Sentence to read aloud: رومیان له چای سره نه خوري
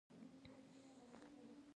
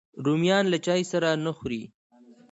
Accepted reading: second